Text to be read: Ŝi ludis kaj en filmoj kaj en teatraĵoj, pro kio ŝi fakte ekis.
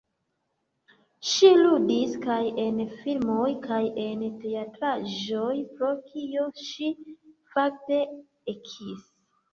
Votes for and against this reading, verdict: 2, 1, accepted